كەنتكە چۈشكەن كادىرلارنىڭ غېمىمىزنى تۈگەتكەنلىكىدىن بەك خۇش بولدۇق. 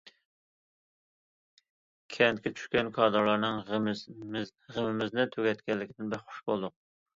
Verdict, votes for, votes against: rejected, 0, 2